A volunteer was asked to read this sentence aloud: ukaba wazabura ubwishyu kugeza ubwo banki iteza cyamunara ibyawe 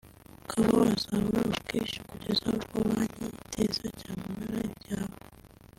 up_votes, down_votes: 3, 0